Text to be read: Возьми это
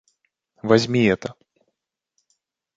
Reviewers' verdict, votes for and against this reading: accepted, 2, 0